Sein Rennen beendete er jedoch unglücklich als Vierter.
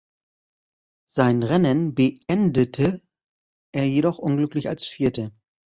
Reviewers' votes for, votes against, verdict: 1, 2, rejected